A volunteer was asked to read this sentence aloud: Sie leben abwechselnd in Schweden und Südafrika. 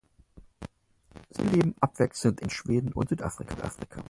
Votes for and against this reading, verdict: 0, 4, rejected